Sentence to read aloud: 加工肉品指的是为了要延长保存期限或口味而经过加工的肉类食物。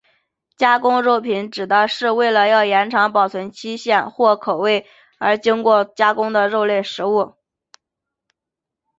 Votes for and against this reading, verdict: 5, 0, accepted